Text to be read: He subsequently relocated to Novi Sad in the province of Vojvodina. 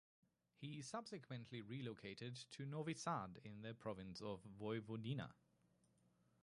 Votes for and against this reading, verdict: 0, 2, rejected